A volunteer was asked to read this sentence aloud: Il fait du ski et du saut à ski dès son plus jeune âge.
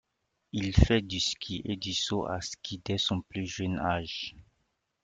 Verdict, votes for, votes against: accepted, 2, 1